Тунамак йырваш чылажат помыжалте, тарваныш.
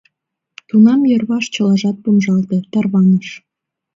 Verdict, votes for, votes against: rejected, 1, 2